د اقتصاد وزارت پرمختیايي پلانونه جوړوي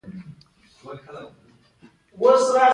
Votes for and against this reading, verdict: 3, 0, accepted